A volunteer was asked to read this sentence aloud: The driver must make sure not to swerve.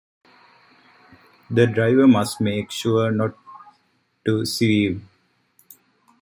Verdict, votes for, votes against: rejected, 0, 2